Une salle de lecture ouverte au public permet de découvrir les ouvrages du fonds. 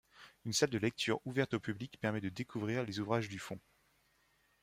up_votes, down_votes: 2, 0